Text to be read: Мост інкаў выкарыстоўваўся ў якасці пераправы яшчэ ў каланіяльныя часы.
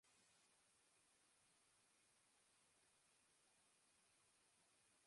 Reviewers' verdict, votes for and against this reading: rejected, 0, 3